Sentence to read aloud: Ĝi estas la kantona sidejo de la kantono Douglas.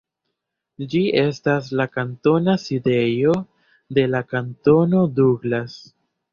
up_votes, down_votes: 2, 0